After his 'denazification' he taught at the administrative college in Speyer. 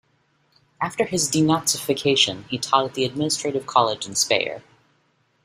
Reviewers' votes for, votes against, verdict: 2, 0, accepted